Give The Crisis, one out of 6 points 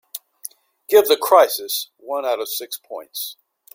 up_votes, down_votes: 0, 2